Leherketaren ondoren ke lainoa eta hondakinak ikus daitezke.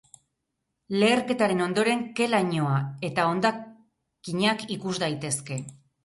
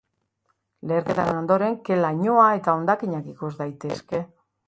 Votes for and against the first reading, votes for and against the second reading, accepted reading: 2, 4, 2, 0, second